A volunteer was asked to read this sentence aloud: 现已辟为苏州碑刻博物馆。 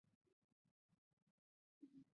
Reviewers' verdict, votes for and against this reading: rejected, 0, 2